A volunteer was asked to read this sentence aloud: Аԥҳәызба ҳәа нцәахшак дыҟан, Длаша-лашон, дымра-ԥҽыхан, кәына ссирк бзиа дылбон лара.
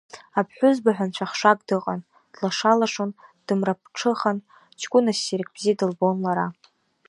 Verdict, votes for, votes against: accepted, 2, 0